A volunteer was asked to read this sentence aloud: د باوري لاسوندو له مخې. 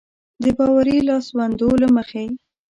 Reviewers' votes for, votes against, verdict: 1, 2, rejected